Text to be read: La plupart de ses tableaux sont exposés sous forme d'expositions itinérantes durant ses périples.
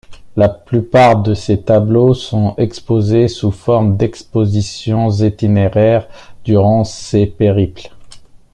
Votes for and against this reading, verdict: 1, 2, rejected